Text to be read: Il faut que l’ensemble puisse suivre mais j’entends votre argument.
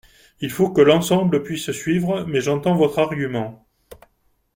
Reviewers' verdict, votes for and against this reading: accepted, 2, 0